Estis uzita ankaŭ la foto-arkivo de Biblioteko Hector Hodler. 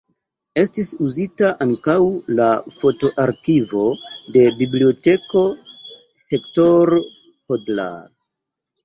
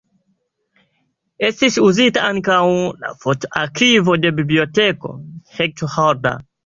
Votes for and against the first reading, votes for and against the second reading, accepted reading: 0, 2, 3, 1, second